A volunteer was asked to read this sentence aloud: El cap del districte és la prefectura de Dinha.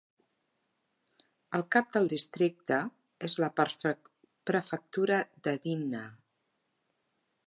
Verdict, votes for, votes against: rejected, 0, 2